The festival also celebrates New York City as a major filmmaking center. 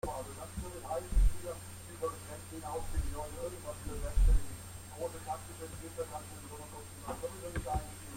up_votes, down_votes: 0, 2